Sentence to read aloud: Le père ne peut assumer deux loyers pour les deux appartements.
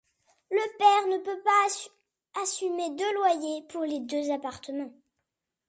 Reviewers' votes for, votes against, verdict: 0, 2, rejected